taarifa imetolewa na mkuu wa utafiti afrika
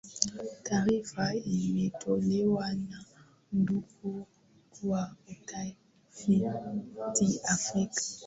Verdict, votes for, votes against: accepted, 3, 0